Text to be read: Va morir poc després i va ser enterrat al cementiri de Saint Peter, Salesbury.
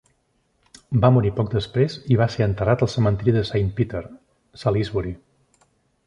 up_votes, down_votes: 2, 0